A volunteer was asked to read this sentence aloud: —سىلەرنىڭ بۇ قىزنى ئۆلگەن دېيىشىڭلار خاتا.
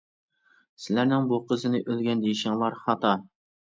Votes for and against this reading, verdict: 0, 2, rejected